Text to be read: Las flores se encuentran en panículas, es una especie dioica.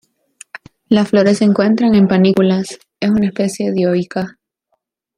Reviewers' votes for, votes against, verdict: 2, 0, accepted